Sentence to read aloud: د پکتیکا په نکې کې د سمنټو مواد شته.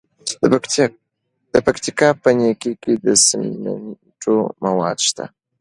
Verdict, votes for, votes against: accepted, 2, 1